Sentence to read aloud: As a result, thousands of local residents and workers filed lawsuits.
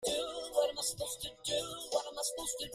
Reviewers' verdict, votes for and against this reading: rejected, 0, 2